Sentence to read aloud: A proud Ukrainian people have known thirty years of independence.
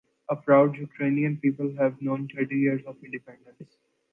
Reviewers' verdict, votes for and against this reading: accepted, 2, 0